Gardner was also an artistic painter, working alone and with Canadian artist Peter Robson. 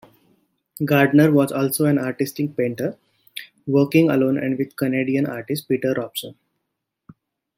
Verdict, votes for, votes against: accepted, 2, 0